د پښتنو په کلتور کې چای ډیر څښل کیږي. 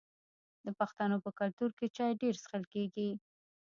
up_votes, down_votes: 0, 2